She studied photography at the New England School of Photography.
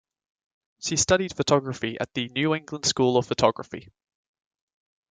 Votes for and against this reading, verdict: 2, 0, accepted